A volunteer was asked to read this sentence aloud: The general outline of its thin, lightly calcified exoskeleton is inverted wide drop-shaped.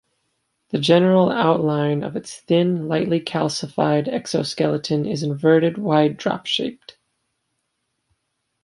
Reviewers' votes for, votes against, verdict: 2, 0, accepted